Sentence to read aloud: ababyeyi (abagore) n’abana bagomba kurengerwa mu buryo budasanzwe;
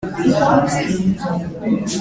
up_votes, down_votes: 1, 2